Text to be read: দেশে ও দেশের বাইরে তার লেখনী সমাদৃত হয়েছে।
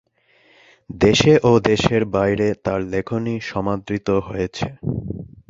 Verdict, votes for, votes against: accepted, 2, 1